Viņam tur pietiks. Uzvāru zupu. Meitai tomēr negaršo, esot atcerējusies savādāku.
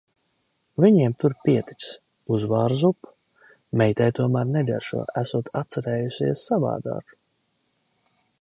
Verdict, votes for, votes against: rejected, 0, 2